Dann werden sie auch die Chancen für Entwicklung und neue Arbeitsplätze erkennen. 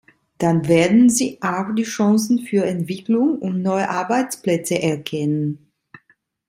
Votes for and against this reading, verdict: 1, 2, rejected